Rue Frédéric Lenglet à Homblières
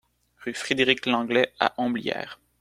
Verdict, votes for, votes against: accepted, 2, 0